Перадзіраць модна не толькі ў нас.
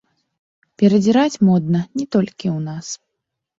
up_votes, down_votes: 1, 2